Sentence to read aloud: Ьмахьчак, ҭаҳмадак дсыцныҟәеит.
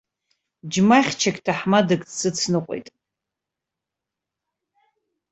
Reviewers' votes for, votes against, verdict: 2, 0, accepted